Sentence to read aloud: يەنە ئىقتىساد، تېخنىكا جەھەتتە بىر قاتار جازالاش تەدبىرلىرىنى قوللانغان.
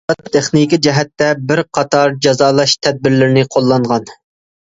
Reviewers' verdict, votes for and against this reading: rejected, 0, 2